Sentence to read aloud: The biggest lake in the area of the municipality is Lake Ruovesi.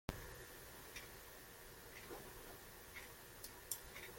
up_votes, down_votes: 0, 2